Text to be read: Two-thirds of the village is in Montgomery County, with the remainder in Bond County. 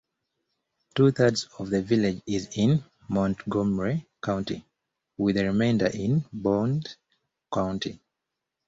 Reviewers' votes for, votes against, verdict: 2, 0, accepted